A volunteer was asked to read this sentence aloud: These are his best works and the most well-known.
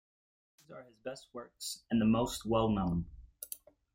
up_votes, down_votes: 1, 2